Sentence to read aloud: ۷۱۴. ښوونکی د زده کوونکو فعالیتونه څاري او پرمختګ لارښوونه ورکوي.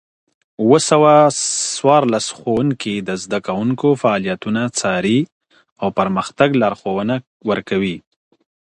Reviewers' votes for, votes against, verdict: 0, 2, rejected